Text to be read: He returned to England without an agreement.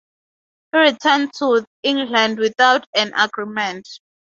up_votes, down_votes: 2, 0